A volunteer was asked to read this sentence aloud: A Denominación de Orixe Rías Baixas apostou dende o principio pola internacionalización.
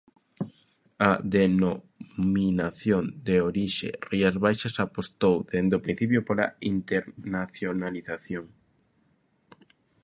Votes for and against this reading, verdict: 0, 2, rejected